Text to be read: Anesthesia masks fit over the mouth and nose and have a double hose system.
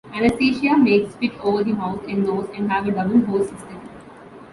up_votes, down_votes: 0, 2